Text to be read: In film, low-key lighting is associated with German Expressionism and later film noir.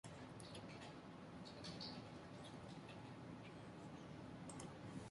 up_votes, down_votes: 0, 2